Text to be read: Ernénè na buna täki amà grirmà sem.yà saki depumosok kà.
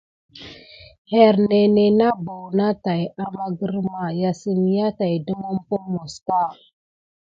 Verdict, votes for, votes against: accepted, 3, 0